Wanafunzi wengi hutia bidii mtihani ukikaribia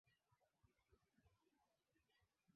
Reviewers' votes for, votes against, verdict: 0, 2, rejected